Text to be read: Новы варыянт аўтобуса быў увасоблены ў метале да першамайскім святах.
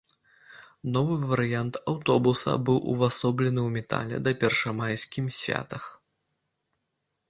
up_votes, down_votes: 0, 2